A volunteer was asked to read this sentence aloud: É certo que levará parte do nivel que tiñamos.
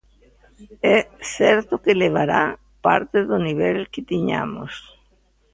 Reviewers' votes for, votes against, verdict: 2, 0, accepted